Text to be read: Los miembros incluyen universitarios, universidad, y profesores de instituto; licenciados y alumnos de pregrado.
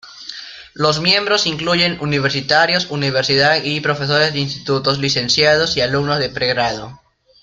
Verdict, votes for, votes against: rejected, 1, 2